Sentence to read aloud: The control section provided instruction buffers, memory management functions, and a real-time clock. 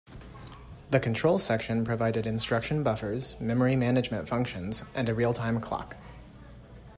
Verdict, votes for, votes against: accepted, 2, 0